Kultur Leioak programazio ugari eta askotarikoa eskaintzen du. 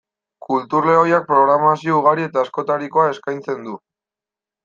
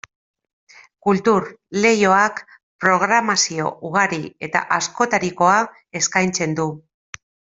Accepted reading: second